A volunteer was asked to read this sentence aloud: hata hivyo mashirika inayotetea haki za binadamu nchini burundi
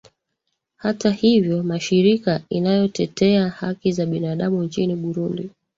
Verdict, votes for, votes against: accepted, 2, 1